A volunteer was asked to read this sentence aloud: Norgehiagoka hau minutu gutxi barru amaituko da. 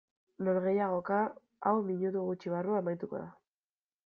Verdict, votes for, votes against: rejected, 1, 2